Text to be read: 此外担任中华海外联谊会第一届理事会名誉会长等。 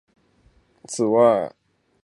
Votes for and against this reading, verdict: 1, 4, rejected